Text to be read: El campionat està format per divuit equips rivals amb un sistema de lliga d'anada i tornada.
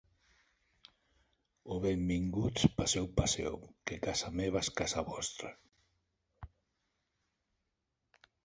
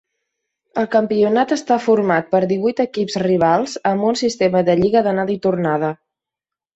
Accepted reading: second